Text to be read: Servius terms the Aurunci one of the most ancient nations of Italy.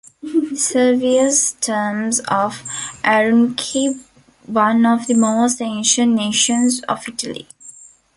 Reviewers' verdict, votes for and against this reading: rejected, 0, 2